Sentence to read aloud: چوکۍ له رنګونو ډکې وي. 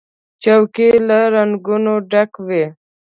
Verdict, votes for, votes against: rejected, 0, 2